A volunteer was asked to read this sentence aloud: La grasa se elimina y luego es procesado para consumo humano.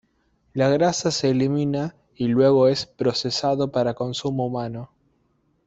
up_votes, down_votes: 2, 0